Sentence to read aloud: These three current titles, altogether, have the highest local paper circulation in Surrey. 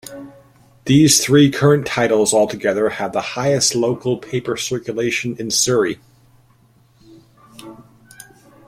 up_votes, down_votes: 2, 0